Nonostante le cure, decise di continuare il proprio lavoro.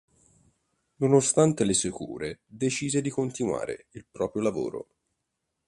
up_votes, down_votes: 1, 2